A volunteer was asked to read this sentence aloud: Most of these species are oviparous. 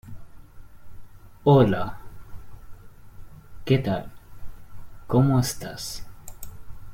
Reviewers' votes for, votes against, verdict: 0, 2, rejected